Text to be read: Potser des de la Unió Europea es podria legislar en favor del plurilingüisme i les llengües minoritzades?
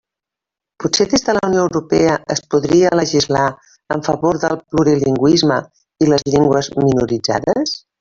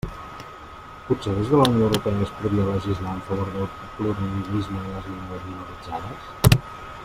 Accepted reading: first